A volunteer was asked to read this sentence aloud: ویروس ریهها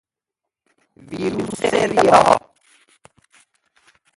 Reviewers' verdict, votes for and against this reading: rejected, 0, 2